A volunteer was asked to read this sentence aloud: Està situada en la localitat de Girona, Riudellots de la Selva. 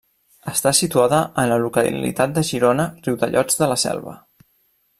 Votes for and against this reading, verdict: 1, 2, rejected